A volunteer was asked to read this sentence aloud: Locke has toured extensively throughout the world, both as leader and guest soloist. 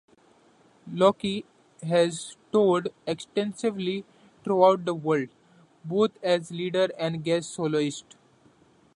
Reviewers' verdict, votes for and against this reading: accepted, 2, 0